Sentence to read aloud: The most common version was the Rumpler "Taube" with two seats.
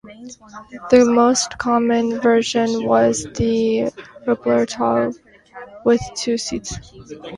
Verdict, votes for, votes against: rejected, 0, 2